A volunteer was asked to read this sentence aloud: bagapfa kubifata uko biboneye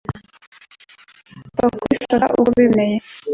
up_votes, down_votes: 1, 2